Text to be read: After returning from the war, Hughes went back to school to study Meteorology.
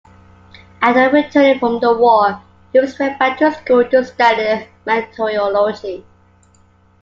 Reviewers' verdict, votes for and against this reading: accepted, 2, 0